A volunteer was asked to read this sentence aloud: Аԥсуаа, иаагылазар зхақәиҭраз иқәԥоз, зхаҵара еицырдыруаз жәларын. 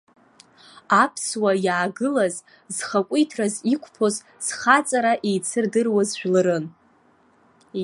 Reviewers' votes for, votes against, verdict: 2, 0, accepted